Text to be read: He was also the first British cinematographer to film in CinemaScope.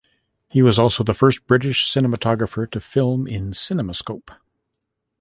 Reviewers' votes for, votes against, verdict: 2, 0, accepted